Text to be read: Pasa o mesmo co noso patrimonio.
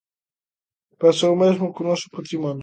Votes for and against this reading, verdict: 2, 0, accepted